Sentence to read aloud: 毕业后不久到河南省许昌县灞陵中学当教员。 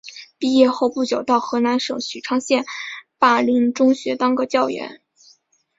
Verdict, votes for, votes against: accepted, 2, 1